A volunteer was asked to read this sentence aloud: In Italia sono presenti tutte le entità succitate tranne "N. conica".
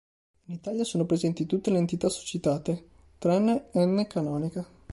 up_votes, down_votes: 0, 2